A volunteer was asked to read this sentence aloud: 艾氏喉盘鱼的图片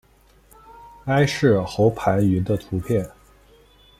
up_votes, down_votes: 1, 2